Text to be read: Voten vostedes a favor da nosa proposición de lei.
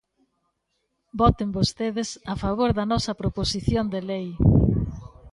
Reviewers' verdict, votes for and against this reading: rejected, 1, 2